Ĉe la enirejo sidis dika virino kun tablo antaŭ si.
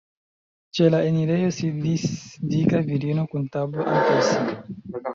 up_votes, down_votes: 0, 2